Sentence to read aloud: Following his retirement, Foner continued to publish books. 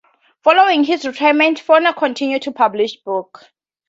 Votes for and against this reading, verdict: 2, 0, accepted